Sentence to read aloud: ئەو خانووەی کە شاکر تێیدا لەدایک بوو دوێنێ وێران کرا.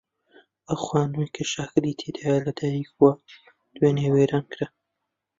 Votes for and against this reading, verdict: 0, 2, rejected